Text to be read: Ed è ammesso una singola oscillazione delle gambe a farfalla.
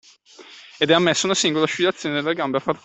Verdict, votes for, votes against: rejected, 0, 2